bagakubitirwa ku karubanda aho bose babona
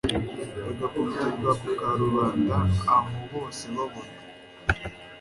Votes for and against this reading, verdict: 2, 0, accepted